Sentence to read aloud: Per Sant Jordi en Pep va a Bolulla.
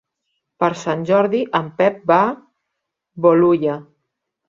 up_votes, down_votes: 1, 2